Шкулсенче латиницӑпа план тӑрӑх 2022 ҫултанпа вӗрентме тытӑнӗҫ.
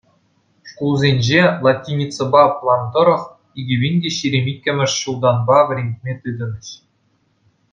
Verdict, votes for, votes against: rejected, 0, 2